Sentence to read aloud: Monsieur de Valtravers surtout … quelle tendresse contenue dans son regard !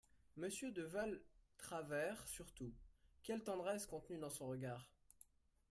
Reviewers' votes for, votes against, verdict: 0, 2, rejected